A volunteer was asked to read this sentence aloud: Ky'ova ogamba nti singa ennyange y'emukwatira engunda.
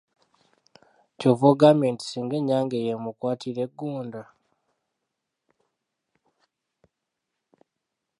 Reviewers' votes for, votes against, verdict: 0, 2, rejected